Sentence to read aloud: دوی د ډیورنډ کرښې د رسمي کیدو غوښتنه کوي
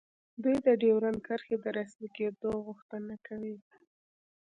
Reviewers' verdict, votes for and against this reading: accepted, 2, 0